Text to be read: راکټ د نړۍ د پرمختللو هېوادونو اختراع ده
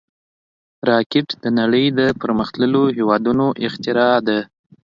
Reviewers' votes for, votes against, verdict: 2, 0, accepted